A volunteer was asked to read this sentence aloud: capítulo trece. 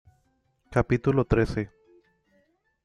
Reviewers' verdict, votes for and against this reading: accepted, 2, 0